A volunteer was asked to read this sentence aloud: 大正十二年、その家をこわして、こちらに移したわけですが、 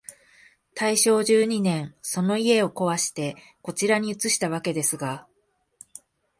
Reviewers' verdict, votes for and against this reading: accepted, 2, 1